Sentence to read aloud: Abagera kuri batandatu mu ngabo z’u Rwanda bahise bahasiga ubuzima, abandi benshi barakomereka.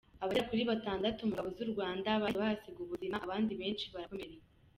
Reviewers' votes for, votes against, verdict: 2, 0, accepted